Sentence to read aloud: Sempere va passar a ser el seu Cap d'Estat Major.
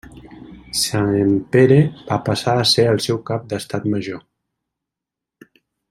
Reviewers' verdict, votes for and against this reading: rejected, 1, 2